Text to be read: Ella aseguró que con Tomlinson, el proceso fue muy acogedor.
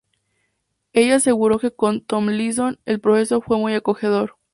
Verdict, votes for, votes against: rejected, 2, 2